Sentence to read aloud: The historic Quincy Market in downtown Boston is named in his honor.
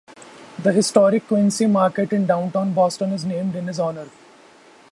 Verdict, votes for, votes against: accepted, 2, 0